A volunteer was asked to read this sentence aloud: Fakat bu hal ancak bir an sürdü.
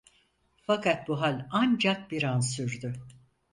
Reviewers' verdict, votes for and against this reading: accepted, 4, 0